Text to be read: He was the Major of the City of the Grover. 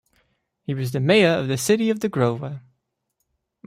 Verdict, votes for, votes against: accepted, 2, 0